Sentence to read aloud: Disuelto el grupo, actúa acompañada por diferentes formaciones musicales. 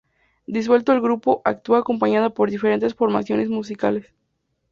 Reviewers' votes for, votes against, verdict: 4, 0, accepted